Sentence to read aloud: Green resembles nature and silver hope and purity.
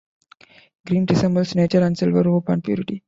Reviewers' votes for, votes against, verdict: 0, 2, rejected